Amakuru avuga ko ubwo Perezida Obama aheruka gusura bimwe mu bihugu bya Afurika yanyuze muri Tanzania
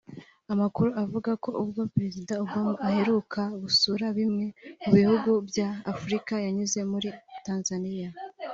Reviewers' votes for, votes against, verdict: 2, 0, accepted